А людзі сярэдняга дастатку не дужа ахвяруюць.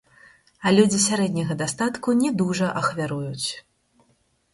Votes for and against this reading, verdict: 2, 4, rejected